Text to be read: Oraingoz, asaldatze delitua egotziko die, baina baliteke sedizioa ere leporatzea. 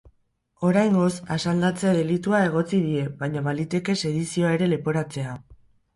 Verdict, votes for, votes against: rejected, 2, 4